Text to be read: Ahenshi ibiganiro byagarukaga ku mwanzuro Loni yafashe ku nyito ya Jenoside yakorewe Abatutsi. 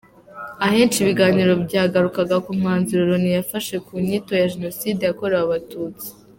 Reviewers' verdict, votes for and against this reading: accepted, 2, 1